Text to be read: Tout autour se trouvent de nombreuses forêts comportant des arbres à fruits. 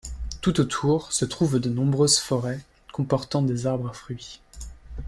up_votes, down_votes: 2, 0